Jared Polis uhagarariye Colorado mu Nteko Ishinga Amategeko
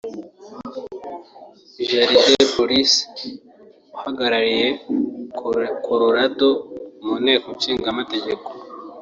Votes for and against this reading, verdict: 1, 2, rejected